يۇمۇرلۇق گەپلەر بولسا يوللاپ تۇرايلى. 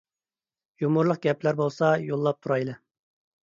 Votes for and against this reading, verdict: 2, 0, accepted